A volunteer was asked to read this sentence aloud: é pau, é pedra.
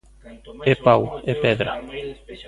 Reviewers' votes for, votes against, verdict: 1, 2, rejected